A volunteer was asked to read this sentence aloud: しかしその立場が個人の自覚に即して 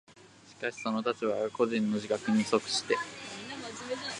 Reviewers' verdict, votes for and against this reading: rejected, 0, 2